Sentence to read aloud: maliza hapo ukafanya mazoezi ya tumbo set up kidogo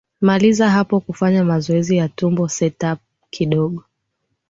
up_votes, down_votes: 2, 0